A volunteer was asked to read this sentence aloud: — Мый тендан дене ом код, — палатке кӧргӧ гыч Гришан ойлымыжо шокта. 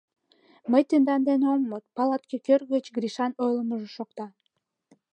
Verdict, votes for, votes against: rejected, 2, 3